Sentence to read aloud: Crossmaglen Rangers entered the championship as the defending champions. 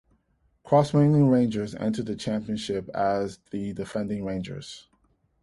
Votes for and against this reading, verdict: 0, 2, rejected